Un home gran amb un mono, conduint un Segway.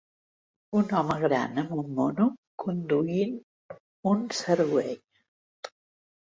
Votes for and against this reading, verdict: 1, 2, rejected